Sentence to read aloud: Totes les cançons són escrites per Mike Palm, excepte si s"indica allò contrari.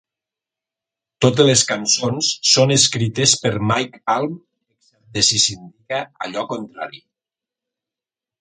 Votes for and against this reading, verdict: 1, 2, rejected